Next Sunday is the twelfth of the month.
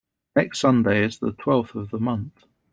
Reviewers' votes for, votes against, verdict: 2, 0, accepted